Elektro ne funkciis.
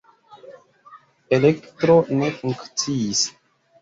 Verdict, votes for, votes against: accepted, 3, 0